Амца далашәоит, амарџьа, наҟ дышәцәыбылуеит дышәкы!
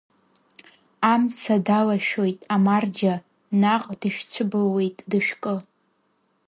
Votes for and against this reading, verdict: 0, 2, rejected